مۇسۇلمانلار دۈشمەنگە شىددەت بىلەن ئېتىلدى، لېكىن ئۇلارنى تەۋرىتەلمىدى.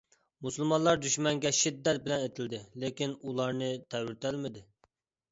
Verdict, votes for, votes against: accepted, 2, 0